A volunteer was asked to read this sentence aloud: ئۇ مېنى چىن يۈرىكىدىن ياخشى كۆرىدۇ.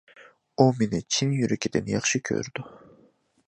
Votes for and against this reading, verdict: 2, 0, accepted